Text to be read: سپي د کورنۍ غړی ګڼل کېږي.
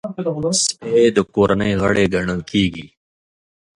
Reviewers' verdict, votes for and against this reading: accepted, 3, 0